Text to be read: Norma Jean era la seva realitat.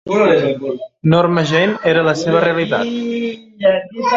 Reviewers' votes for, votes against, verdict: 2, 1, accepted